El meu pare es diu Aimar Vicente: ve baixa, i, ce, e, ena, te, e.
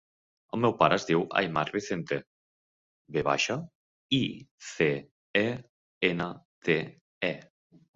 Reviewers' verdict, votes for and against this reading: accepted, 3, 2